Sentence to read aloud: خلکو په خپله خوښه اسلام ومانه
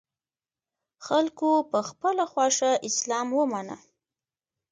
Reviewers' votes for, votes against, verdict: 0, 2, rejected